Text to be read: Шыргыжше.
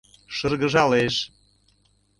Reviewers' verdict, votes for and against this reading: rejected, 0, 2